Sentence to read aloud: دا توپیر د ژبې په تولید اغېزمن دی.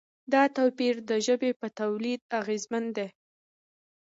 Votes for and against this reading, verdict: 2, 0, accepted